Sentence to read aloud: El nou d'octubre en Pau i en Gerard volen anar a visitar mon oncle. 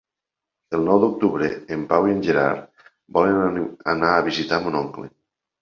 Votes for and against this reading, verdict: 0, 2, rejected